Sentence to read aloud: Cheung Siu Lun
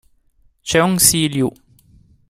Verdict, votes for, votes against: rejected, 0, 2